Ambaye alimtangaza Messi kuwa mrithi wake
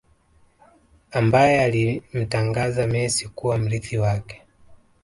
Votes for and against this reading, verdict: 0, 2, rejected